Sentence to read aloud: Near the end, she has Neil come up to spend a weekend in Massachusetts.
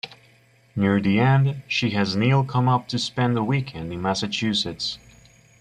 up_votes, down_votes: 0, 2